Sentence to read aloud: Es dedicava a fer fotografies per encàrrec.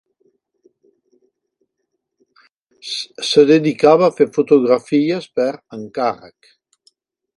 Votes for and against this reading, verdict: 0, 2, rejected